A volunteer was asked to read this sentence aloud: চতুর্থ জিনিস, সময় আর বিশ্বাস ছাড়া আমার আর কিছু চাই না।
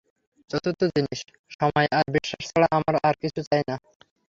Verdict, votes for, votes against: accepted, 3, 0